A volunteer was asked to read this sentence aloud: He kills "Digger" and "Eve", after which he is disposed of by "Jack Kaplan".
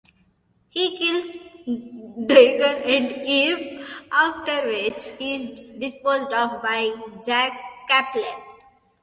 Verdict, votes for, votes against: rejected, 1, 2